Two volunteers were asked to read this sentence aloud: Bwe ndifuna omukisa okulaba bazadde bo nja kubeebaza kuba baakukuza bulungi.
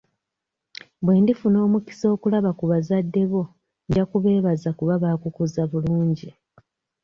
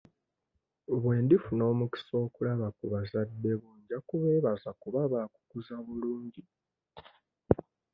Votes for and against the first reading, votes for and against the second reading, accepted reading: 0, 2, 2, 1, second